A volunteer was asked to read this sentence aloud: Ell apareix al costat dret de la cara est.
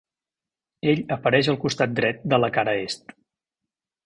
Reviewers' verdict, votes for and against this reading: accepted, 3, 0